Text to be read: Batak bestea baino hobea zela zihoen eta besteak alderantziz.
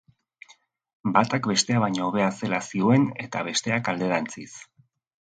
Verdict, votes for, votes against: accepted, 2, 0